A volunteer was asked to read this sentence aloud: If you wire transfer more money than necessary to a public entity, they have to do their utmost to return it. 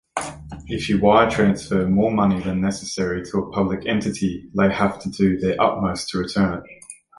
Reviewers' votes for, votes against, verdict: 2, 1, accepted